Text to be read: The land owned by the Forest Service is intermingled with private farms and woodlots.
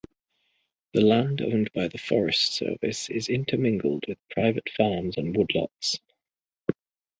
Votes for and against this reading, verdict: 2, 0, accepted